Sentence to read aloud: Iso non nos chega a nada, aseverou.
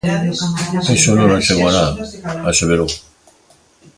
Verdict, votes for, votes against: rejected, 0, 2